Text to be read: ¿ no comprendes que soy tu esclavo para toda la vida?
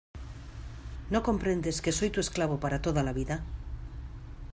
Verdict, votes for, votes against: accepted, 3, 0